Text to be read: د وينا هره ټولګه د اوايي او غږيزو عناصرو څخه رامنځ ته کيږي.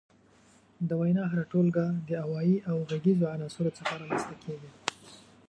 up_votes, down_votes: 1, 2